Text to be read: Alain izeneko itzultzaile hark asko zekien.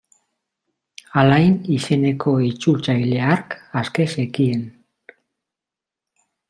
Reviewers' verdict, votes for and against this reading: rejected, 0, 2